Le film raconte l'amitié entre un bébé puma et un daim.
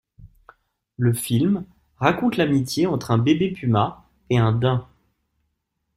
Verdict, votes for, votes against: accepted, 3, 0